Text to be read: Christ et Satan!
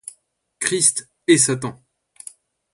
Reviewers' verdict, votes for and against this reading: accepted, 2, 0